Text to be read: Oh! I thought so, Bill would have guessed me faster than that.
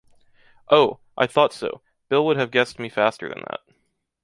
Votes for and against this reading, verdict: 2, 1, accepted